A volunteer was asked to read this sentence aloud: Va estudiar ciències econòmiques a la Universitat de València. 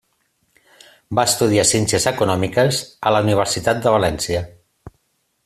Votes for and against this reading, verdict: 3, 0, accepted